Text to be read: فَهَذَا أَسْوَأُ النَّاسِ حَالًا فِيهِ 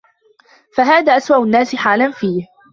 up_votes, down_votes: 2, 1